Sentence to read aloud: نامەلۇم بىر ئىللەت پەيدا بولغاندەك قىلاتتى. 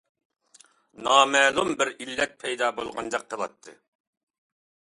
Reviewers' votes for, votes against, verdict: 2, 0, accepted